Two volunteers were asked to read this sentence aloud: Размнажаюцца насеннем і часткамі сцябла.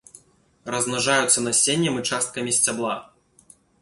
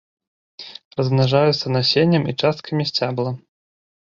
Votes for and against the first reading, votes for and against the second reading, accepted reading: 2, 0, 0, 2, first